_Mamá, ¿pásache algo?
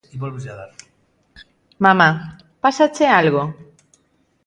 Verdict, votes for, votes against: rejected, 0, 2